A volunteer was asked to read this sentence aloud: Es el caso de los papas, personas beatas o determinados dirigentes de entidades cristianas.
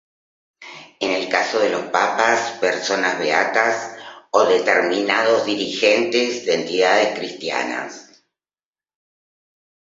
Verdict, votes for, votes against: rejected, 1, 2